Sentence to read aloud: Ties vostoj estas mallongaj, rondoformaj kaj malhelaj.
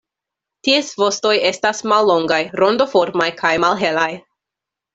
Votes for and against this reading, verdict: 2, 0, accepted